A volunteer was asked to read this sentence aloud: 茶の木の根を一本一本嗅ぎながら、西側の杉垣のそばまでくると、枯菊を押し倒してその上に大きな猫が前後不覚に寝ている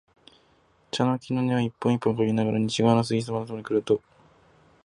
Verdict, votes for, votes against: rejected, 0, 4